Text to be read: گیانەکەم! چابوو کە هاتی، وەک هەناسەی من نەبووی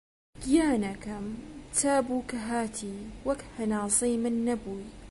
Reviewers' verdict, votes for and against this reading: accepted, 2, 0